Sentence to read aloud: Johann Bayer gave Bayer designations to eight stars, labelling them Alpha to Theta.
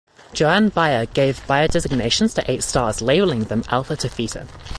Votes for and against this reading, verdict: 2, 0, accepted